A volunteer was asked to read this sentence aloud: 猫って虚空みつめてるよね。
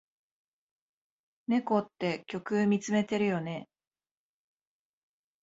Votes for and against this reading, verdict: 1, 2, rejected